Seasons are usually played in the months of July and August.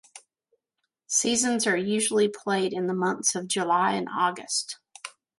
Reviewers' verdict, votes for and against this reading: accepted, 2, 1